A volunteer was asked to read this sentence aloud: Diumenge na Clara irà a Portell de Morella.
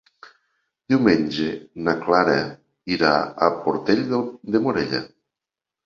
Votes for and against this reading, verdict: 0, 2, rejected